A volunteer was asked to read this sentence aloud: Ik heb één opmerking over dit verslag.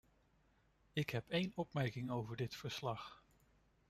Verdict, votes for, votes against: accepted, 2, 0